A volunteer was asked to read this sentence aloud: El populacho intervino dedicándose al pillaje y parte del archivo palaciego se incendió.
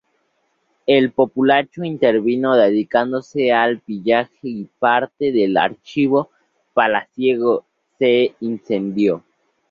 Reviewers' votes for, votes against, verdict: 2, 2, rejected